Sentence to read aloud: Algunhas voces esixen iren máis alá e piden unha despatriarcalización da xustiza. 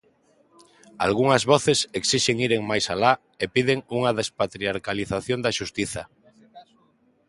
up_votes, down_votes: 2, 0